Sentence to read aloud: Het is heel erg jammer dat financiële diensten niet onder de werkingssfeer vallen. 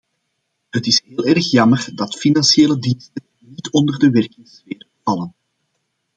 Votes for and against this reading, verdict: 0, 2, rejected